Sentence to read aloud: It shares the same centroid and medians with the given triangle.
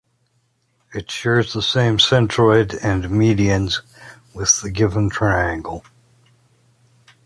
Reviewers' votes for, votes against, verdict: 2, 0, accepted